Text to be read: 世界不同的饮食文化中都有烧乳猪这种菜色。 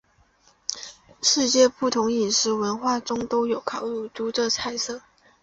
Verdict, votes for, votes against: rejected, 1, 2